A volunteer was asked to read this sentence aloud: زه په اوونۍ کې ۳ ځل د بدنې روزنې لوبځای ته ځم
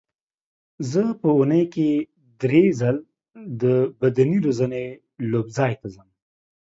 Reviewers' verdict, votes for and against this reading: rejected, 0, 2